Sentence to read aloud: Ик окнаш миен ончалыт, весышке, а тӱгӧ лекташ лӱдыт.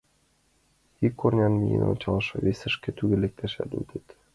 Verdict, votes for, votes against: rejected, 0, 2